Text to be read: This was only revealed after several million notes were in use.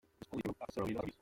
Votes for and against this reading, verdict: 0, 2, rejected